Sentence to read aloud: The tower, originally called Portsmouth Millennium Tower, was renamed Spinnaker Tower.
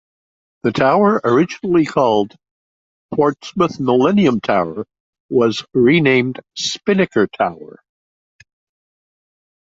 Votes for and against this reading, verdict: 2, 0, accepted